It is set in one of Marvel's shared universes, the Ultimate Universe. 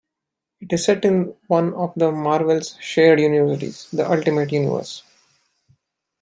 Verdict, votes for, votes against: rejected, 0, 2